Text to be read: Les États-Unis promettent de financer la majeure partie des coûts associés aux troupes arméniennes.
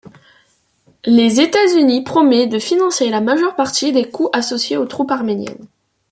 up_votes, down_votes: 0, 2